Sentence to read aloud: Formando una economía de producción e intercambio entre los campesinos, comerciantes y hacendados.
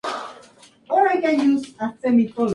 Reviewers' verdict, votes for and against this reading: rejected, 0, 2